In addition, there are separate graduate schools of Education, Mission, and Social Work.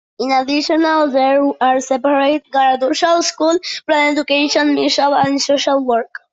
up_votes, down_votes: 0, 2